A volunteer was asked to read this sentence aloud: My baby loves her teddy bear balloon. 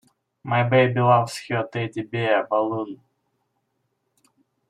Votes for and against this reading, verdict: 0, 2, rejected